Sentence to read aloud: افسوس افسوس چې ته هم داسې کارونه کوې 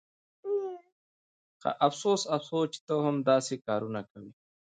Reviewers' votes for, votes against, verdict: 2, 0, accepted